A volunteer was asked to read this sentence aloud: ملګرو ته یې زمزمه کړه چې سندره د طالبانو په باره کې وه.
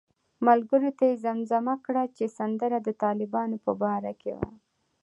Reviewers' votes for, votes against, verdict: 2, 0, accepted